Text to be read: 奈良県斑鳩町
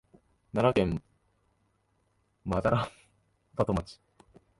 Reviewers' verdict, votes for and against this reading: rejected, 1, 2